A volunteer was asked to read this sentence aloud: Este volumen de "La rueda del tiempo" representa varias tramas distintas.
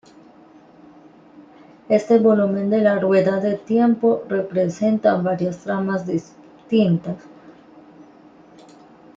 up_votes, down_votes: 1, 2